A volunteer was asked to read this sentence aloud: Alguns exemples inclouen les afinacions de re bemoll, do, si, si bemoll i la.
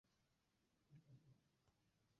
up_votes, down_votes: 0, 2